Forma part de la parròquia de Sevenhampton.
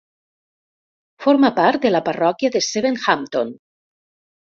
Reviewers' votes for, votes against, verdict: 2, 0, accepted